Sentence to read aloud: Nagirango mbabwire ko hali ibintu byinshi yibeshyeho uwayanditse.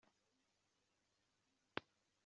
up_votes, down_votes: 0, 2